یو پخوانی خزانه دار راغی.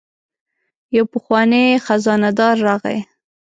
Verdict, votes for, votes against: accepted, 2, 0